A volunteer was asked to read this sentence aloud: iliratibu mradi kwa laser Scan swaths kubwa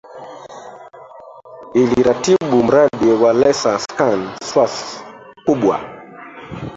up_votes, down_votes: 0, 2